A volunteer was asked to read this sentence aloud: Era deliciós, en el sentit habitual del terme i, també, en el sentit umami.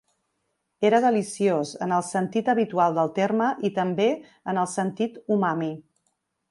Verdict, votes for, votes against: accepted, 3, 0